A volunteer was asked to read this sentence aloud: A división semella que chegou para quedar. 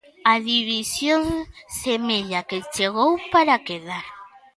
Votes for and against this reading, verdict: 2, 0, accepted